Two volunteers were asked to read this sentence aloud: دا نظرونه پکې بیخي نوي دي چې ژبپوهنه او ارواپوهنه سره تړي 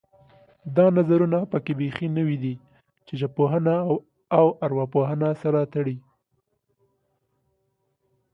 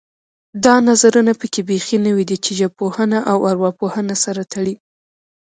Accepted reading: first